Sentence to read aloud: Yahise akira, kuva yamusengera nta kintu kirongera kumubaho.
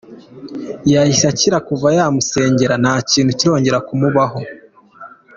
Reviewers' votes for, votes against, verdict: 3, 0, accepted